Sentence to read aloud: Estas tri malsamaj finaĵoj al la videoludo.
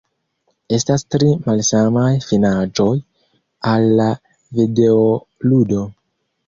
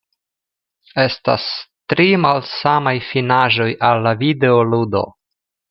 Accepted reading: second